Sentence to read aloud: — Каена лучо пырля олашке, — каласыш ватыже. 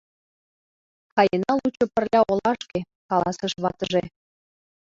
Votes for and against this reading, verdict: 2, 0, accepted